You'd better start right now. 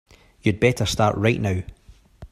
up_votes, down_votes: 3, 0